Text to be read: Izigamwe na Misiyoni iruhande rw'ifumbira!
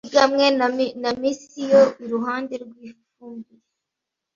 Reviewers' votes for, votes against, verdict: 1, 2, rejected